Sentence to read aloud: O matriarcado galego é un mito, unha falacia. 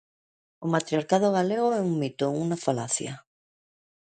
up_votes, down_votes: 2, 1